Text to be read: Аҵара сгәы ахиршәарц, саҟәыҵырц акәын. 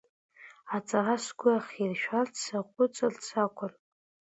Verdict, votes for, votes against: accepted, 2, 0